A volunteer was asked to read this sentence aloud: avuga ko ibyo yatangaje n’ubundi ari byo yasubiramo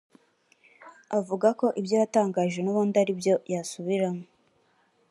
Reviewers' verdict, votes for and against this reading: accepted, 2, 0